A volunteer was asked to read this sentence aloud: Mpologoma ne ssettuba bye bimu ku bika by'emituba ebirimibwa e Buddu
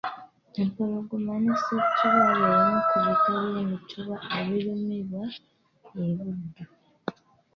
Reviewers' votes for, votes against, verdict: 2, 0, accepted